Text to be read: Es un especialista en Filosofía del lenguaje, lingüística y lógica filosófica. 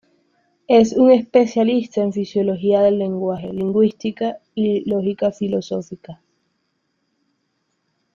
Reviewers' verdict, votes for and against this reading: rejected, 0, 2